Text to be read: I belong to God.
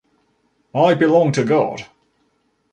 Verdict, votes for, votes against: accepted, 2, 0